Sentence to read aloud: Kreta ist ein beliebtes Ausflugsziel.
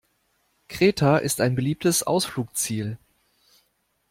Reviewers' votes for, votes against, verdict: 0, 2, rejected